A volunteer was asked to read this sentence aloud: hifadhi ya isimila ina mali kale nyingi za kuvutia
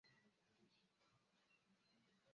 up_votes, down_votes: 0, 2